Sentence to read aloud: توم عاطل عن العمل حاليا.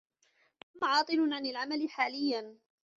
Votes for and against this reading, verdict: 2, 0, accepted